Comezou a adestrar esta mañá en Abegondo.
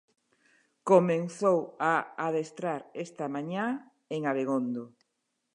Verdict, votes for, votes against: rejected, 0, 2